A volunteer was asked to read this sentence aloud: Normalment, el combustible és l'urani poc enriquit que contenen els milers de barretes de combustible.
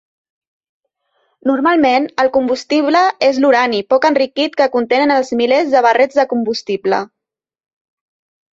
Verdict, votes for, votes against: rejected, 0, 2